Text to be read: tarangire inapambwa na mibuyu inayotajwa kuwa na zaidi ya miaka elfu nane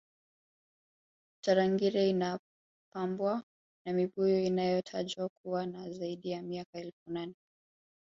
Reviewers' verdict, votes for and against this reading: rejected, 1, 2